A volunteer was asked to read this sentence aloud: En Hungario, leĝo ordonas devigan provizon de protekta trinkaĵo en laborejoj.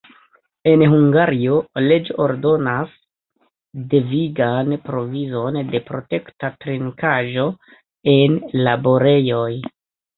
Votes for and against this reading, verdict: 1, 2, rejected